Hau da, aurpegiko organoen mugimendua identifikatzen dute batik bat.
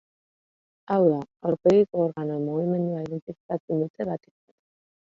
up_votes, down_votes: 0, 2